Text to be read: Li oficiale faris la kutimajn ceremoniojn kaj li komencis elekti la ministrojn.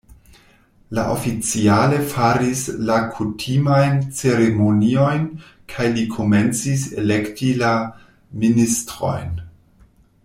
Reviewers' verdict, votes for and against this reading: rejected, 1, 2